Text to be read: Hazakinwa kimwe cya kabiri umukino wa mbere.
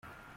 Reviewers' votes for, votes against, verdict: 0, 2, rejected